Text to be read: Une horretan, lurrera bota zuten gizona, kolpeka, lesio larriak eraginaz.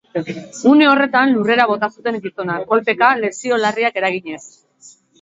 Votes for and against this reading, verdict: 2, 1, accepted